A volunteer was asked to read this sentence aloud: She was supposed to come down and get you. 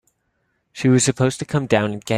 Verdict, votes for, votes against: rejected, 0, 2